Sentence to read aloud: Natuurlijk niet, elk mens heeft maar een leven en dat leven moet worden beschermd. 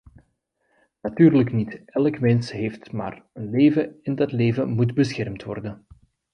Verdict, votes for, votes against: rejected, 1, 2